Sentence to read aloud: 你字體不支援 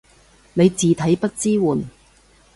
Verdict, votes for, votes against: accepted, 2, 0